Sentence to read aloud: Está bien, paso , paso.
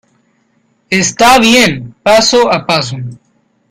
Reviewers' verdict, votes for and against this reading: rejected, 0, 2